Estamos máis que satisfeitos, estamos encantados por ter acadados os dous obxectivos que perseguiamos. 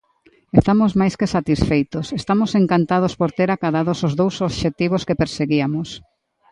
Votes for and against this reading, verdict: 1, 2, rejected